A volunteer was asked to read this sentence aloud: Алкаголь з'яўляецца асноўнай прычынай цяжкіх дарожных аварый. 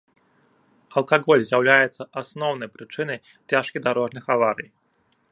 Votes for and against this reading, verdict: 1, 2, rejected